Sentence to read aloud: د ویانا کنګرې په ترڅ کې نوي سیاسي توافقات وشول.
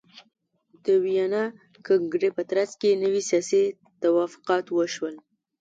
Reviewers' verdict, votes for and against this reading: accepted, 2, 0